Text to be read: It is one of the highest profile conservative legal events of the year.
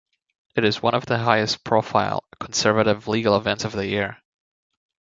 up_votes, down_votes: 2, 0